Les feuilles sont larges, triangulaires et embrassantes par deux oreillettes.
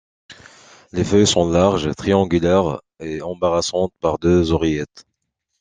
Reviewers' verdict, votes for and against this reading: rejected, 1, 2